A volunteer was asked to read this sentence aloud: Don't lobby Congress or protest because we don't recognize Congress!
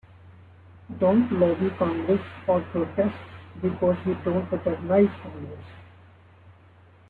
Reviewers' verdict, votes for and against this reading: accepted, 2, 1